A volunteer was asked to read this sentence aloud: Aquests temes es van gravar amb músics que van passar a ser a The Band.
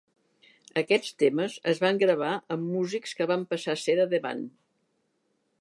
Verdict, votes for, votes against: accepted, 2, 0